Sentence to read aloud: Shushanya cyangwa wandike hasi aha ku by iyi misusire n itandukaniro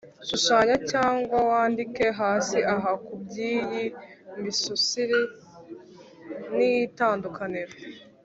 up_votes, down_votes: 2, 0